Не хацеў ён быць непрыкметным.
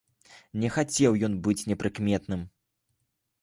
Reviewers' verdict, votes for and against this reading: accepted, 2, 0